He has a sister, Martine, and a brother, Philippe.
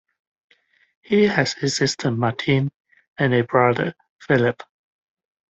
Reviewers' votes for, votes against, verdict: 2, 1, accepted